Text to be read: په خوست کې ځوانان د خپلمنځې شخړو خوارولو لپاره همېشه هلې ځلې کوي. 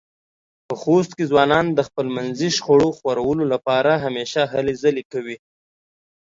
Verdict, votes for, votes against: accepted, 2, 0